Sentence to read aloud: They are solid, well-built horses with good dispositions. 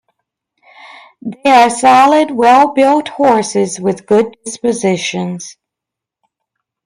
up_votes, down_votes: 1, 2